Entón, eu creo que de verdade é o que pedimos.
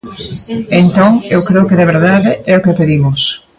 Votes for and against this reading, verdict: 1, 2, rejected